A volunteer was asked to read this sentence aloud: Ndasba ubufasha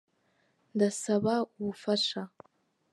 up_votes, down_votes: 3, 0